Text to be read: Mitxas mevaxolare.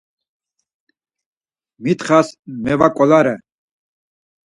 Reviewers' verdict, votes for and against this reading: rejected, 2, 4